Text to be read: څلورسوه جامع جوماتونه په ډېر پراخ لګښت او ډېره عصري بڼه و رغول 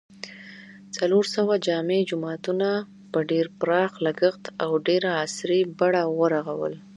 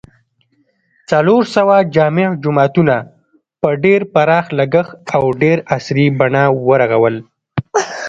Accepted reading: second